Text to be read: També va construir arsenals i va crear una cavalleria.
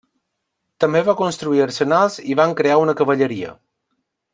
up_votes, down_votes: 1, 2